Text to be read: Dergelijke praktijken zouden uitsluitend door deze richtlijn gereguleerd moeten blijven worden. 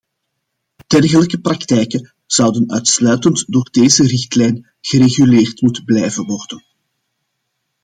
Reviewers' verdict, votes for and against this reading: accepted, 2, 0